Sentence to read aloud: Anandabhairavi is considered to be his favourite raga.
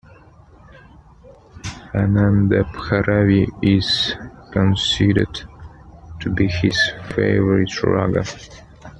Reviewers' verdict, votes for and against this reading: accepted, 2, 0